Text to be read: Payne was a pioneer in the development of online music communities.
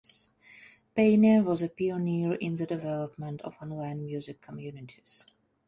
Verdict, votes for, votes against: accepted, 2, 0